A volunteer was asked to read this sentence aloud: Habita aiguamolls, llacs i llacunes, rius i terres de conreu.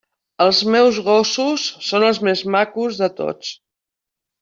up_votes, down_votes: 0, 2